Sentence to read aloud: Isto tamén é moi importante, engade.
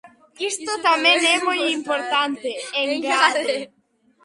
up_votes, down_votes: 1, 2